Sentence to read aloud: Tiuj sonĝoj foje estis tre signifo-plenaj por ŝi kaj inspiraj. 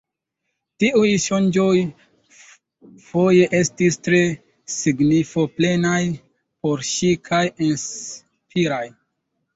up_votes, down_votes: 2, 0